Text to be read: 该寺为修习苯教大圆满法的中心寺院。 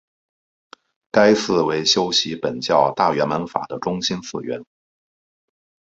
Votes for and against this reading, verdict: 1, 2, rejected